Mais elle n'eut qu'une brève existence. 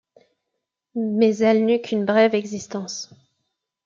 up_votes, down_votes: 2, 0